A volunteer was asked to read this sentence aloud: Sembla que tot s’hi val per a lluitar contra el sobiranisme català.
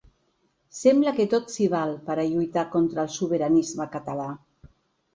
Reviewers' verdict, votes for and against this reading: accepted, 4, 1